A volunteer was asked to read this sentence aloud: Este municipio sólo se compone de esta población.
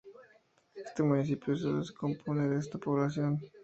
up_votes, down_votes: 2, 0